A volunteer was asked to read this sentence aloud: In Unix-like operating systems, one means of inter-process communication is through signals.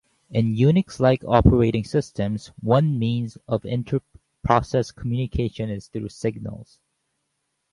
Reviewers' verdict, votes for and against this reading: accepted, 4, 0